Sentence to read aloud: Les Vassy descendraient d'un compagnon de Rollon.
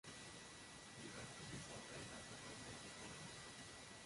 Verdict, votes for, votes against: rejected, 0, 2